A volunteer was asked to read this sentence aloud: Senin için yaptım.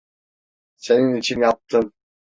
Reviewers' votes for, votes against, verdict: 2, 0, accepted